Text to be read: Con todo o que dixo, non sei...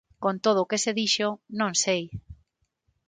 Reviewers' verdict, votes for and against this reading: rejected, 0, 6